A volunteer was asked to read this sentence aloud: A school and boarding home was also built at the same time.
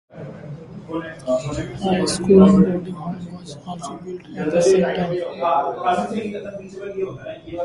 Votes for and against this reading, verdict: 0, 2, rejected